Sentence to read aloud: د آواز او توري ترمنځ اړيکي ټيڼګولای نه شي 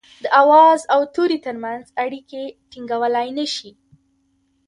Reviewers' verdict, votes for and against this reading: rejected, 1, 2